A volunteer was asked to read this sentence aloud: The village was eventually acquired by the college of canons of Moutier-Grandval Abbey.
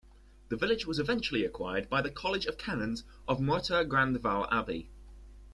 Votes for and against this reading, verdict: 2, 0, accepted